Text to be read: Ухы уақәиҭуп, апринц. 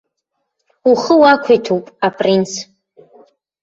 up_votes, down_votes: 2, 0